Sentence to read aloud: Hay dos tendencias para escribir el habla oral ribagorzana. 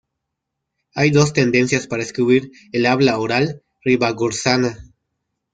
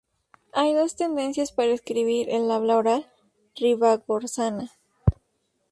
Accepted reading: second